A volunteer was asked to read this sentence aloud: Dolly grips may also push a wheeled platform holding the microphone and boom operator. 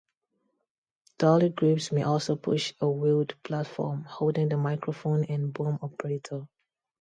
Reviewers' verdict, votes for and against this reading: rejected, 0, 2